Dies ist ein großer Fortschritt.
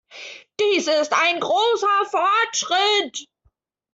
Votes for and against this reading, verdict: 2, 0, accepted